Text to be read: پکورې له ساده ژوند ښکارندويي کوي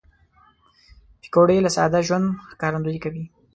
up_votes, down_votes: 2, 1